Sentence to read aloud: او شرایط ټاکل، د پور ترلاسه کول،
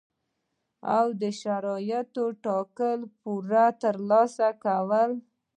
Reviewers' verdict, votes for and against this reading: rejected, 1, 2